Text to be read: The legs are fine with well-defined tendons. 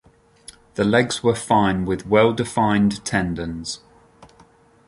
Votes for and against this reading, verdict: 0, 2, rejected